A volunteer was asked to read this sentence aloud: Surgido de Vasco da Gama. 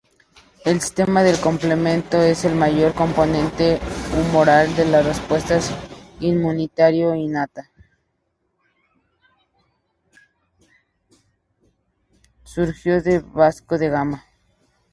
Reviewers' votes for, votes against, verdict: 0, 2, rejected